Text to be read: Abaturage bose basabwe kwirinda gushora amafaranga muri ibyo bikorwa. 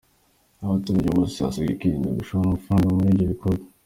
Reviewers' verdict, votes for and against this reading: accepted, 2, 0